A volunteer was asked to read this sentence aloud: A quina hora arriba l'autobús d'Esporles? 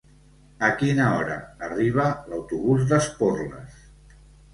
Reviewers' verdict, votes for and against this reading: rejected, 1, 2